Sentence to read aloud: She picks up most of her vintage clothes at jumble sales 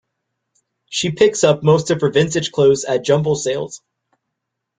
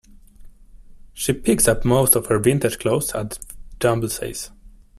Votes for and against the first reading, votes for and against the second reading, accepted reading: 2, 0, 0, 2, first